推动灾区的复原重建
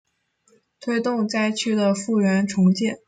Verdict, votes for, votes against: accepted, 2, 0